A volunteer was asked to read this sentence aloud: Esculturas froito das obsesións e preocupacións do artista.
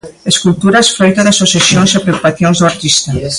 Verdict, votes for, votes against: accepted, 2, 0